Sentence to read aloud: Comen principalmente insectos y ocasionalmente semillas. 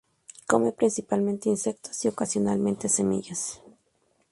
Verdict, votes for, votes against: accepted, 2, 0